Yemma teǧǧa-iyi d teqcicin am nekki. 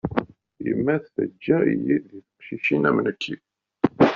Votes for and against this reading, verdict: 0, 2, rejected